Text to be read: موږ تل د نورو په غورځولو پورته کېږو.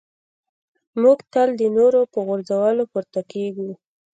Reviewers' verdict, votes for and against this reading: rejected, 1, 2